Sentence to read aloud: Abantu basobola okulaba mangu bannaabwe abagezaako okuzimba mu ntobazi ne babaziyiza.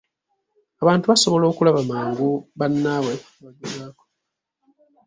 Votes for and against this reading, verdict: 0, 3, rejected